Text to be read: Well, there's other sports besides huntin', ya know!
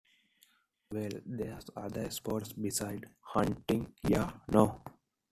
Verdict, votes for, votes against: rejected, 1, 3